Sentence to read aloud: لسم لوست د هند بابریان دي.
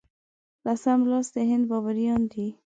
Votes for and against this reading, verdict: 2, 0, accepted